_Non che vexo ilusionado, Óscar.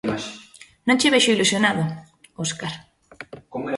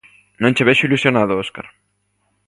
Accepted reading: second